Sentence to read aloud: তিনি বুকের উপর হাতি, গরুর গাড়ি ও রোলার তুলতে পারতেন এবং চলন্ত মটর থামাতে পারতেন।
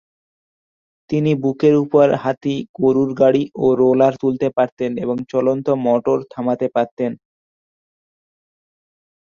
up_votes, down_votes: 9, 1